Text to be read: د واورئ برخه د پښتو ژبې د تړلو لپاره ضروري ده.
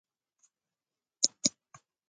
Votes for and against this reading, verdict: 0, 2, rejected